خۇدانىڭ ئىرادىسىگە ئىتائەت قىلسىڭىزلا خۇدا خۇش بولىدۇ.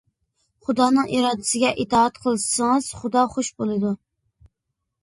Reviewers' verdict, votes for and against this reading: rejected, 0, 2